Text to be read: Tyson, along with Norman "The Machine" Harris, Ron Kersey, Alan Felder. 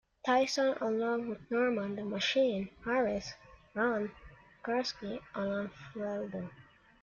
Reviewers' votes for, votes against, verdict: 1, 2, rejected